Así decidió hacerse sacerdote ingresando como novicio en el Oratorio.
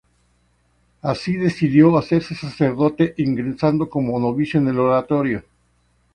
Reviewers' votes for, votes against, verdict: 0, 2, rejected